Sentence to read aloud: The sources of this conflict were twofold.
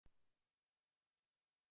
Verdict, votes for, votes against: rejected, 1, 2